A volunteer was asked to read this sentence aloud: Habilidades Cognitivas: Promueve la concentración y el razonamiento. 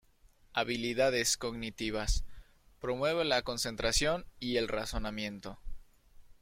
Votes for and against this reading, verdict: 1, 3, rejected